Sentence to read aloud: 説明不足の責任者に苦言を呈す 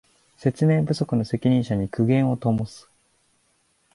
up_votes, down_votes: 3, 4